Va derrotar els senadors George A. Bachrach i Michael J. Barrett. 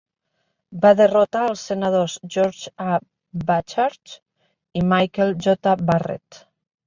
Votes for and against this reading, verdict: 1, 2, rejected